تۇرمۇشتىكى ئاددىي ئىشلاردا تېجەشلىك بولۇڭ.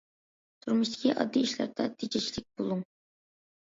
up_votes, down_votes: 2, 0